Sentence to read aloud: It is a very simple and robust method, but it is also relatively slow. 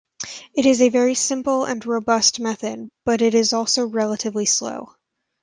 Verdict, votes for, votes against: accepted, 2, 0